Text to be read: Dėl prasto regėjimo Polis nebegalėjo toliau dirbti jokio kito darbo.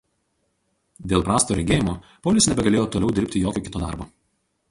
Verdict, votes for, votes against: rejected, 2, 2